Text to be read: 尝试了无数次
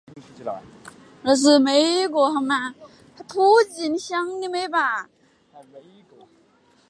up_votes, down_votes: 1, 2